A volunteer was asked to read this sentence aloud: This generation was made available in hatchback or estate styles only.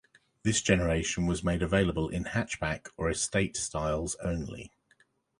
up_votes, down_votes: 2, 0